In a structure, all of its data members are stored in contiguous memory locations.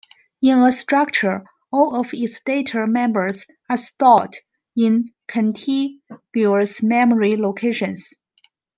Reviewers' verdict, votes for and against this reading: accepted, 2, 1